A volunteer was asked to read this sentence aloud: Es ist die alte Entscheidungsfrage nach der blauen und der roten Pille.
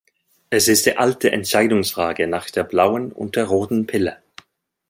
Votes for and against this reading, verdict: 2, 0, accepted